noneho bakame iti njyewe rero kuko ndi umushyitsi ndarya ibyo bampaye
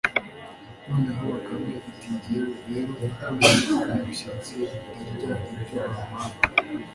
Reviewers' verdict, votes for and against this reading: rejected, 1, 2